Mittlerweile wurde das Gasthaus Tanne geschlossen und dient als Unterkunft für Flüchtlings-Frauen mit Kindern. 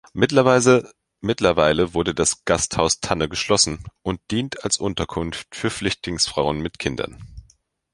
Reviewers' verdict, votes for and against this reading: rejected, 0, 2